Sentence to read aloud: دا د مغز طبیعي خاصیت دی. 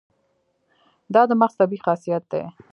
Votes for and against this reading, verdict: 1, 2, rejected